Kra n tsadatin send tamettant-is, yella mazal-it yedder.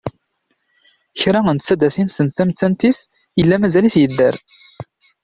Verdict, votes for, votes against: accepted, 2, 0